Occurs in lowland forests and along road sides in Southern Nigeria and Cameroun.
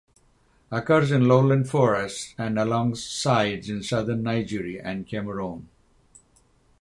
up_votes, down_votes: 0, 6